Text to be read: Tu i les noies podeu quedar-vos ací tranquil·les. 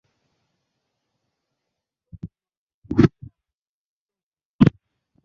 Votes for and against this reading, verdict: 0, 2, rejected